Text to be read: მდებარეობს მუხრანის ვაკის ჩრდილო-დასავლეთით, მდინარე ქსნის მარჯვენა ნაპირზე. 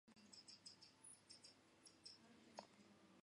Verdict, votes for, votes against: rejected, 1, 2